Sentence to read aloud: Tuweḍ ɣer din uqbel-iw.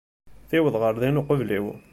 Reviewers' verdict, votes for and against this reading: accepted, 2, 0